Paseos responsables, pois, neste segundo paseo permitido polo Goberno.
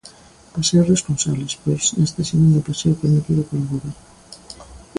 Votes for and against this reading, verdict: 2, 0, accepted